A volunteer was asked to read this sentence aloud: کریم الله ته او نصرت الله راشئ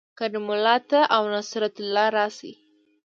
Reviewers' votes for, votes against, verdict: 2, 1, accepted